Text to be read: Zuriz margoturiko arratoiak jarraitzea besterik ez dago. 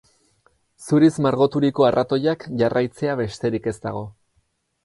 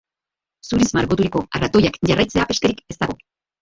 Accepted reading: first